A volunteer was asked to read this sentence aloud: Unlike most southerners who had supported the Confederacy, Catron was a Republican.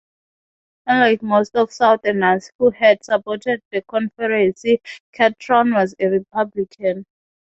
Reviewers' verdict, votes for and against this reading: rejected, 0, 6